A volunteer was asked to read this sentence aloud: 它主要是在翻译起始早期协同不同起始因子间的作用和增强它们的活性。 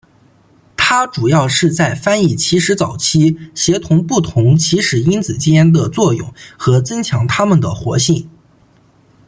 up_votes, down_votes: 1, 2